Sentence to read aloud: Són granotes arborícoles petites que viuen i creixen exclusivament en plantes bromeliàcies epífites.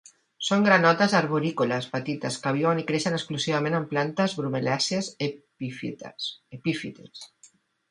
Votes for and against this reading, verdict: 0, 2, rejected